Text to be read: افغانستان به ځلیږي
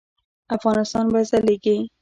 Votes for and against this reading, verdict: 2, 0, accepted